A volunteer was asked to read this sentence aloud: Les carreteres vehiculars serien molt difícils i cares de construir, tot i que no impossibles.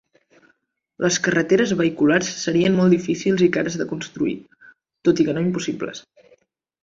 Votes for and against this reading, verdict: 4, 0, accepted